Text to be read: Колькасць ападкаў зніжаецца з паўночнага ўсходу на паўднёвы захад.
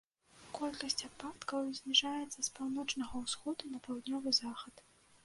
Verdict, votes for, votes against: accepted, 2, 0